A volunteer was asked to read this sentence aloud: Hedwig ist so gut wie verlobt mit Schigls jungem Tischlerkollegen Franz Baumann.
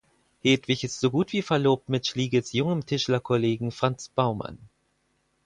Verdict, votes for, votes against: rejected, 2, 4